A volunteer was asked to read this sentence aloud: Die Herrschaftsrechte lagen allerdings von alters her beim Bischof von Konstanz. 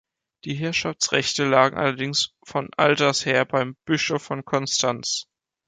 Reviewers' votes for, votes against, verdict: 2, 0, accepted